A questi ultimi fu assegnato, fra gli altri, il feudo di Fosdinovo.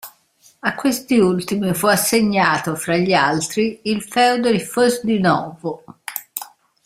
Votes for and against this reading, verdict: 0, 2, rejected